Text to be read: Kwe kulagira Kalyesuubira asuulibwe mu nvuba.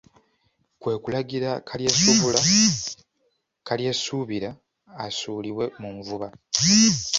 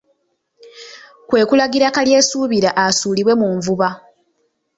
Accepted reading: second